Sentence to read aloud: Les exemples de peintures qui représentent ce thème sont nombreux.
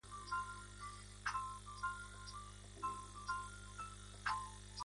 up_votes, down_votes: 1, 2